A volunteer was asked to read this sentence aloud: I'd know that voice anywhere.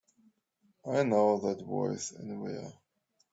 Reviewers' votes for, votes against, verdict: 1, 2, rejected